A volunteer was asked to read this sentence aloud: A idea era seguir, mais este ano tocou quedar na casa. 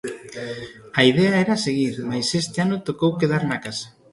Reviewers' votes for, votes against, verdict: 1, 2, rejected